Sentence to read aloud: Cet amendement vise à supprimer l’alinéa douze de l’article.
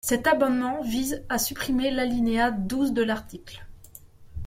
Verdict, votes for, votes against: rejected, 1, 2